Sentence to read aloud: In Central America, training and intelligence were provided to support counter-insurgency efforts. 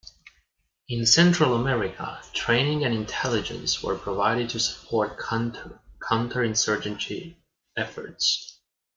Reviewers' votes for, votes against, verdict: 0, 2, rejected